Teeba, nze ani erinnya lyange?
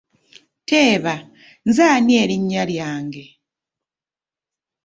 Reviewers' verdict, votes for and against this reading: accepted, 2, 0